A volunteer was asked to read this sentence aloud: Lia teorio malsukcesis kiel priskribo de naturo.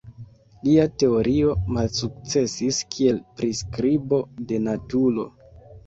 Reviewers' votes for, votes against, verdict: 2, 1, accepted